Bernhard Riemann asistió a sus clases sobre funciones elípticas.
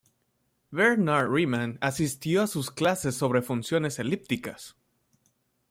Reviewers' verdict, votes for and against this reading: accepted, 2, 0